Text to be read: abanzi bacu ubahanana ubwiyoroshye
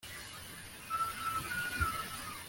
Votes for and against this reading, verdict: 1, 2, rejected